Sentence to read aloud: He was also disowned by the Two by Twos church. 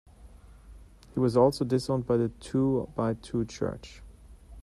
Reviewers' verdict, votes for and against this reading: rejected, 1, 2